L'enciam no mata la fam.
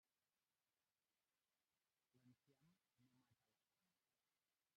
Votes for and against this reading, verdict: 0, 2, rejected